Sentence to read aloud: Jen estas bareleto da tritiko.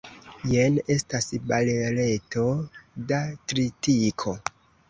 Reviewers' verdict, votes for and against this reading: rejected, 0, 2